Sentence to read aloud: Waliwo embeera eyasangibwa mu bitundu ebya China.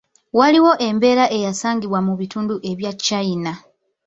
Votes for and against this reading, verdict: 2, 0, accepted